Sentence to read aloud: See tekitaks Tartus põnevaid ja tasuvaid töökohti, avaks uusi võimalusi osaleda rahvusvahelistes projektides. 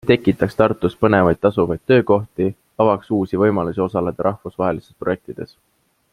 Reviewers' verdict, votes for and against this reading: rejected, 0, 2